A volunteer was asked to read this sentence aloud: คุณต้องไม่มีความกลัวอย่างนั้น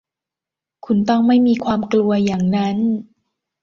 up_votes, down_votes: 2, 0